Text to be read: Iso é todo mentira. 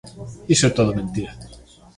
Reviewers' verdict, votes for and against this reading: accepted, 3, 0